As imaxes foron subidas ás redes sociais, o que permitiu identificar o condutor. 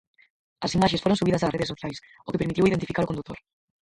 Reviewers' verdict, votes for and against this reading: rejected, 0, 4